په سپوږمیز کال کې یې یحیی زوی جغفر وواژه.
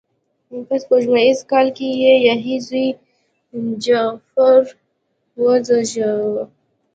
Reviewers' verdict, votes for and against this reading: rejected, 2, 3